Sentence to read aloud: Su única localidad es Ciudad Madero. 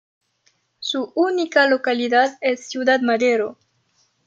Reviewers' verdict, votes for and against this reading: accepted, 2, 0